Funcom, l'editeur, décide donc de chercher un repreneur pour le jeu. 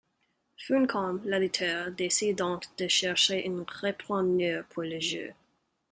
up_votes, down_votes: 3, 1